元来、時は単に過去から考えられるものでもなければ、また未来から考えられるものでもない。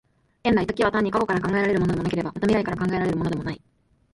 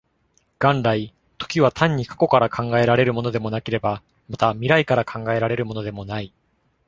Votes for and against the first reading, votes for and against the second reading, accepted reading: 0, 2, 2, 0, second